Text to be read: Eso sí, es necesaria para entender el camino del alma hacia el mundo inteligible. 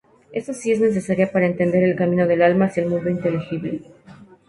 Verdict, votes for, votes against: accepted, 2, 0